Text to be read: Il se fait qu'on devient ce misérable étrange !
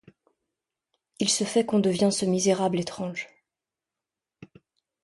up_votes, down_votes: 2, 0